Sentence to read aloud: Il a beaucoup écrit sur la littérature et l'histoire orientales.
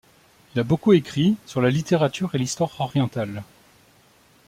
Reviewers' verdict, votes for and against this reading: rejected, 1, 2